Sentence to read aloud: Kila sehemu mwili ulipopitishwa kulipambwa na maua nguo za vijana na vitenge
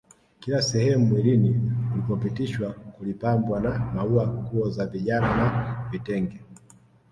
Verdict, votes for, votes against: rejected, 0, 2